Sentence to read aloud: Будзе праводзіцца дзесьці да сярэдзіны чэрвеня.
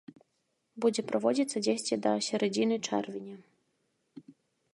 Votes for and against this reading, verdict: 0, 2, rejected